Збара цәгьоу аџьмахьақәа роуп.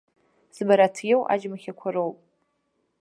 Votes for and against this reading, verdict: 1, 2, rejected